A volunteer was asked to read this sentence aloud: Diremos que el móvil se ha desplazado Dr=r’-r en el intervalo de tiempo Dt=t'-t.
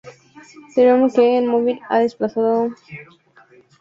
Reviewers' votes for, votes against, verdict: 0, 2, rejected